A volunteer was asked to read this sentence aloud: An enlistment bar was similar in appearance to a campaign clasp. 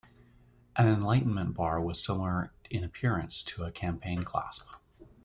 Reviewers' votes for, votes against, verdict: 0, 2, rejected